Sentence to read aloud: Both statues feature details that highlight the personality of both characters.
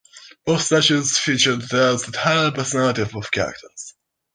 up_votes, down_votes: 1, 2